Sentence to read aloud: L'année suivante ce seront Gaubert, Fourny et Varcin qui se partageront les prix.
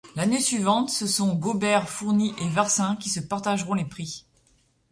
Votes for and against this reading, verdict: 0, 2, rejected